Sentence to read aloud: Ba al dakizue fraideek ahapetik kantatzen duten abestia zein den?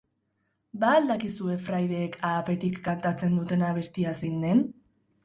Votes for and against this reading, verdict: 2, 0, accepted